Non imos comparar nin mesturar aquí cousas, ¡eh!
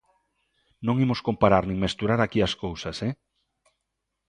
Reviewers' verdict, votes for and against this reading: rejected, 1, 2